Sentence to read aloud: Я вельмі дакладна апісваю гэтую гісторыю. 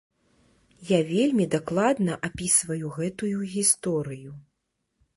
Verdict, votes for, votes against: accepted, 2, 0